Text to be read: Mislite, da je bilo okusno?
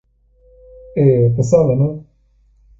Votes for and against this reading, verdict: 0, 2, rejected